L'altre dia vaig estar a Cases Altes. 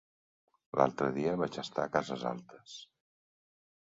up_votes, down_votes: 1, 2